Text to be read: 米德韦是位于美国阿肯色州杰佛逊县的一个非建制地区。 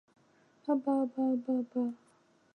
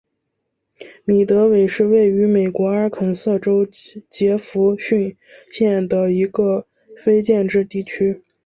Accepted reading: second